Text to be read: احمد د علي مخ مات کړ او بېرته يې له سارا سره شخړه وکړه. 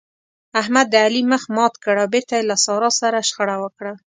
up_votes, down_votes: 3, 0